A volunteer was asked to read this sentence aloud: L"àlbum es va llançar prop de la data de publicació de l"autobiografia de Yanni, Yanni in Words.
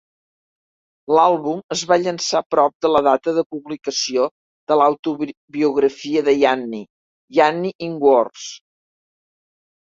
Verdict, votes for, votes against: rejected, 2, 3